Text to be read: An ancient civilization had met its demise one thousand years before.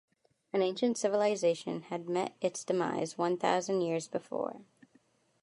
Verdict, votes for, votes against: accepted, 2, 0